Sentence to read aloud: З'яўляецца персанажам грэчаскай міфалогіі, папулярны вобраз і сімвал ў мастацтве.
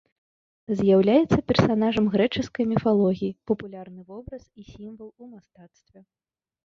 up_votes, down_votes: 1, 2